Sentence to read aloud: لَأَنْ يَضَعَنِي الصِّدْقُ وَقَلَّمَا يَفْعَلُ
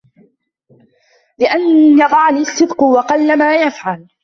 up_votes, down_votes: 0, 2